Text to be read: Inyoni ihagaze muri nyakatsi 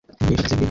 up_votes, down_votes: 0, 2